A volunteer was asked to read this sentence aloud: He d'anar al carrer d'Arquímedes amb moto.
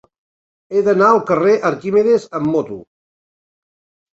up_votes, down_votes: 0, 2